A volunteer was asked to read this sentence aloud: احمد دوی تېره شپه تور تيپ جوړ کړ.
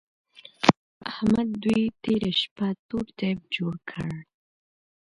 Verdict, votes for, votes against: accepted, 2, 1